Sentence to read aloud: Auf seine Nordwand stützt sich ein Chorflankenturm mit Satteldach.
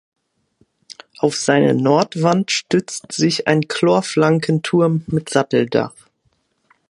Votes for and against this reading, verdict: 1, 2, rejected